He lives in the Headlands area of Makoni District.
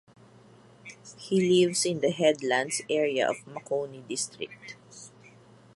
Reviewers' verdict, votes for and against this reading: accepted, 2, 0